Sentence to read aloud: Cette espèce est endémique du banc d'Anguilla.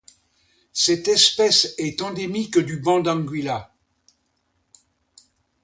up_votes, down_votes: 2, 0